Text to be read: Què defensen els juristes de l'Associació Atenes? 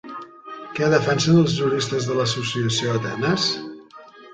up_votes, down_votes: 0, 2